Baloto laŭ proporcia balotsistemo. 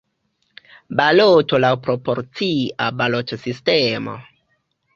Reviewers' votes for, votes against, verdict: 1, 2, rejected